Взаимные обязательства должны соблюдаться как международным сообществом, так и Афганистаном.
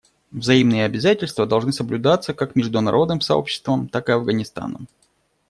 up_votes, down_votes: 2, 0